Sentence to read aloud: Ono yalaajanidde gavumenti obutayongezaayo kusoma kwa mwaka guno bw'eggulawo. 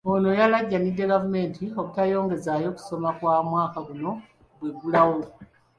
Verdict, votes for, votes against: accepted, 2, 0